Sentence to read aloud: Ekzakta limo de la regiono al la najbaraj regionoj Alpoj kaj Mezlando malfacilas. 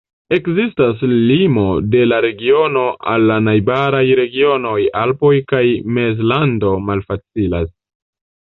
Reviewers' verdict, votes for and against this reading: rejected, 1, 2